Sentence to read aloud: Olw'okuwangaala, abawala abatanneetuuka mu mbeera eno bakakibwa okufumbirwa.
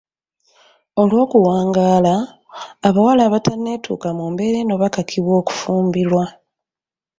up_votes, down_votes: 1, 2